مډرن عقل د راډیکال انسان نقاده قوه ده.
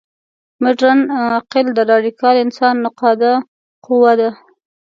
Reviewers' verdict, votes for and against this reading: accepted, 2, 0